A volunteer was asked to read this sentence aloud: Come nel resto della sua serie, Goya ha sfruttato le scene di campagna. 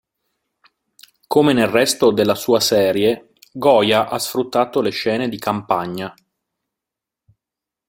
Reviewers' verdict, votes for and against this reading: accepted, 2, 0